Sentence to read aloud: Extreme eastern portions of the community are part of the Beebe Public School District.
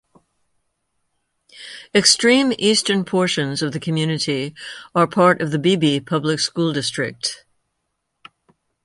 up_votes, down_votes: 2, 0